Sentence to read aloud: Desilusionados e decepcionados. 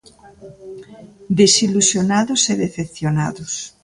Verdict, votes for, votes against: rejected, 1, 2